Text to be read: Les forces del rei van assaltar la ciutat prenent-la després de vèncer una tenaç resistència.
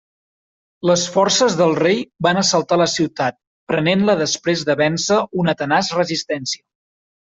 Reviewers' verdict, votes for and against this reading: accepted, 3, 0